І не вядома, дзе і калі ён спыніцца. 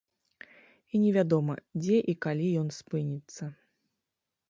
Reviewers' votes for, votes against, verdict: 2, 0, accepted